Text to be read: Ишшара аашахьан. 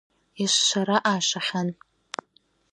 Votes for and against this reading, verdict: 1, 2, rejected